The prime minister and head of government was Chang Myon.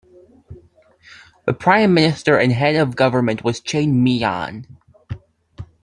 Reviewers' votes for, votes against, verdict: 2, 1, accepted